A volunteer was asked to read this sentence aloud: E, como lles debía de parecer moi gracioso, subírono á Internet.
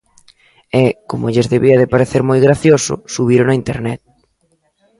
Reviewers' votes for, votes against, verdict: 2, 0, accepted